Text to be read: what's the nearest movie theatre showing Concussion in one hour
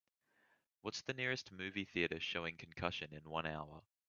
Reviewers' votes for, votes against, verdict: 3, 0, accepted